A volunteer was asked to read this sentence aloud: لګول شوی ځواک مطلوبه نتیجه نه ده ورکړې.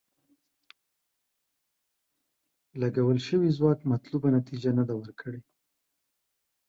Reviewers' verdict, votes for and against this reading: rejected, 0, 2